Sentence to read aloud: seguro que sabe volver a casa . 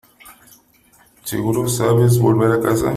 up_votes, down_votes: 0, 3